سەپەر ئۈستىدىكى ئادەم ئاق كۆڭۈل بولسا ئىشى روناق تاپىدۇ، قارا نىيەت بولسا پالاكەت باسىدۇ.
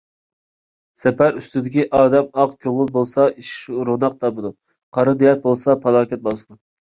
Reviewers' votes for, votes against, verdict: 1, 2, rejected